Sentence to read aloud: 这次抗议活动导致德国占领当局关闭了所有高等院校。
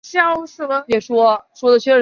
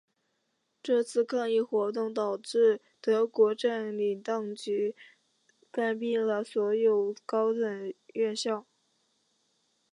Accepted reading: second